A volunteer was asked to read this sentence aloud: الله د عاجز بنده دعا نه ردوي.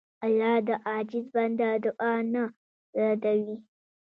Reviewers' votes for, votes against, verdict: 0, 2, rejected